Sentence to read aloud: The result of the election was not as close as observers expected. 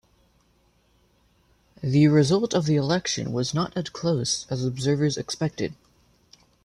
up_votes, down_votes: 1, 2